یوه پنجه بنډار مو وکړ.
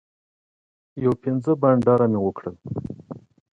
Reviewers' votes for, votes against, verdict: 1, 2, rejected